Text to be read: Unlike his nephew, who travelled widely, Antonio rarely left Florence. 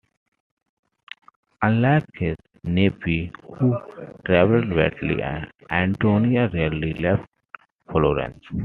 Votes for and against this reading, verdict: 2, 1, accepted